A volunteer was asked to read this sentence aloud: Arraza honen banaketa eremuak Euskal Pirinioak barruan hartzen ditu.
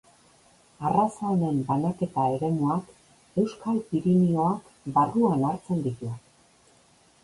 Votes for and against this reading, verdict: 2, 0, accepted